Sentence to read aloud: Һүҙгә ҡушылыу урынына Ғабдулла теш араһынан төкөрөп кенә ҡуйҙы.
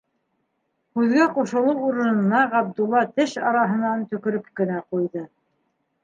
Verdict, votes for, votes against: accepted, 2, 1